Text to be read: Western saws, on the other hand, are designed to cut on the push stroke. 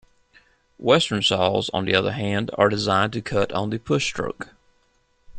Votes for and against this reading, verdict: 2, 0, accepted